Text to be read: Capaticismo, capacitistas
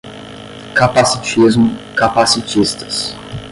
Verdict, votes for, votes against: rejected, 5, 5